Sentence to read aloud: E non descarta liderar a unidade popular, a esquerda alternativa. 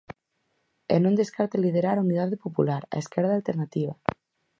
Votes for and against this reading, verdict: 4, 0, accepted